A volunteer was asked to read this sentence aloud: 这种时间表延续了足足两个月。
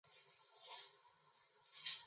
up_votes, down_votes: 0, 5